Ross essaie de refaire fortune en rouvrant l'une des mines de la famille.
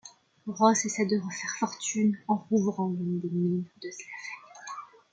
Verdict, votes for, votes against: rejected, 0, 2